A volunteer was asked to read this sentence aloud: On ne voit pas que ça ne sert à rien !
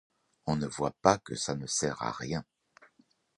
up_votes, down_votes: 2, 0